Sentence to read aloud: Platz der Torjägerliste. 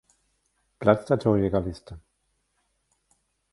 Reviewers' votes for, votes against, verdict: 1, 2, rejected